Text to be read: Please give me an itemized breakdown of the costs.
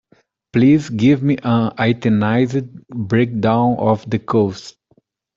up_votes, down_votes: 2, 1